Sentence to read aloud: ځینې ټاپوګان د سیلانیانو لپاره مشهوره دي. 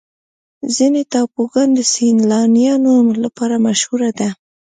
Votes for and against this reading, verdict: 1, 2, rejected